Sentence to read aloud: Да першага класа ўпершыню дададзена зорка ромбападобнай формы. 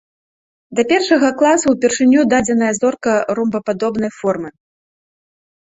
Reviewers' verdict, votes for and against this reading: rejected, 0, 2